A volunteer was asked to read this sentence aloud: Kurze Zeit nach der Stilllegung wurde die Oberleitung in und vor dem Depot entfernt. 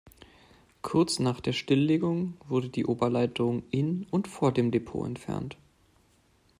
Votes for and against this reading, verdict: 1, 2, rejected